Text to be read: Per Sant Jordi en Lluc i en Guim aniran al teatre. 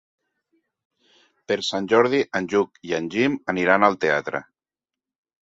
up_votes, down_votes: 0, 2